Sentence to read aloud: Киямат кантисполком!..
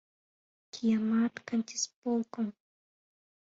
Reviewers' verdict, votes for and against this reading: accepted, 2, 0